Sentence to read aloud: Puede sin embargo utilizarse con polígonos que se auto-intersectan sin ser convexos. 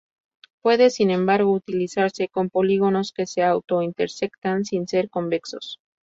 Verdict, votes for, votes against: accepted, 2, 0